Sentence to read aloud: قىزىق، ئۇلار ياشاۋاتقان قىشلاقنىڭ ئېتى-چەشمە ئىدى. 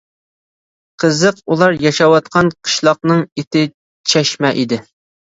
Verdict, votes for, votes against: accepted, 2, 0